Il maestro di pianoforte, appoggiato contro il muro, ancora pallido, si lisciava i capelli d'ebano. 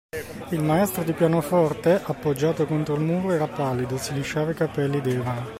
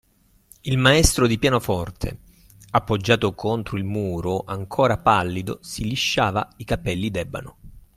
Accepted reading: second